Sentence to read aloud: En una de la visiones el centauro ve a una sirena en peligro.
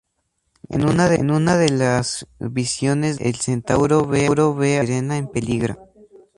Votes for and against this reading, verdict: 0, 2, rejected